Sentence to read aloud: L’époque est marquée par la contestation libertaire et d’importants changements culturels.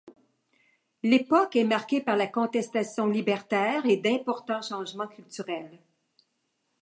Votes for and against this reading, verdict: 2, 0, accepted